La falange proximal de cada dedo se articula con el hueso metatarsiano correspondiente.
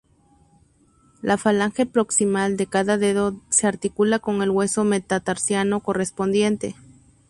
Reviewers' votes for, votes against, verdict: 4, 0, accepted